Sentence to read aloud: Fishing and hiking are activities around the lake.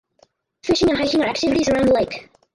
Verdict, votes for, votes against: rejected, 0, 4